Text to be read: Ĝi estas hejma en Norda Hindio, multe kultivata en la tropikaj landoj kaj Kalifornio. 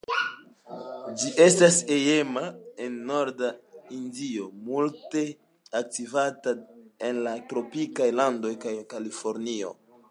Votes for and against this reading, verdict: 2, 0, accepted